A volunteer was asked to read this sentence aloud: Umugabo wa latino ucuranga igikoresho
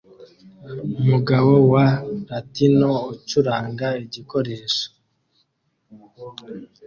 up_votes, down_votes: 2, 0